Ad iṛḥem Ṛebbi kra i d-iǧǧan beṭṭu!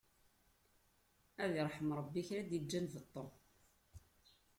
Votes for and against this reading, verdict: 2, 1, accepted